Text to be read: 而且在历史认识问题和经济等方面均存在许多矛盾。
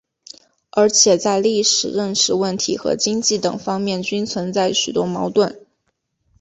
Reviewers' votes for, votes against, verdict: 2, 0, accepted